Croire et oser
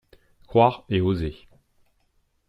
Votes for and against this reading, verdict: 2, 0, accepted